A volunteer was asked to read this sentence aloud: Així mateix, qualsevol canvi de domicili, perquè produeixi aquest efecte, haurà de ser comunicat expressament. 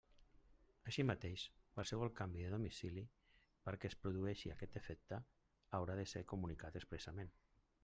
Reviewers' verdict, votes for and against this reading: rejected, 0, 2